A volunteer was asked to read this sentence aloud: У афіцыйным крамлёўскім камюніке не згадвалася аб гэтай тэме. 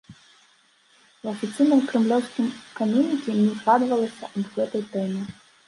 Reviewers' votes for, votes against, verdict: 1, 2, rejected